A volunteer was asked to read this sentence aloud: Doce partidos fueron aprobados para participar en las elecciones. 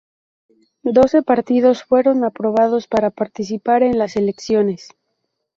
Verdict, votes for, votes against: accepted, 2, 0